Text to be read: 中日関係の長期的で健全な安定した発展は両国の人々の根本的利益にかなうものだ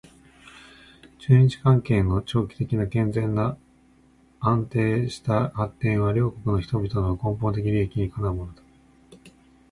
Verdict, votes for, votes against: accepted, 2, 0